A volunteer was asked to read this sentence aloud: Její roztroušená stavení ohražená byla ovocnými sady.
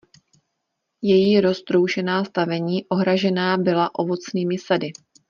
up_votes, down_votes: 2, 0